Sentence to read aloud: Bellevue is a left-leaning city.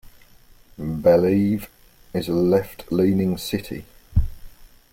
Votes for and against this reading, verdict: 0, 2, rejected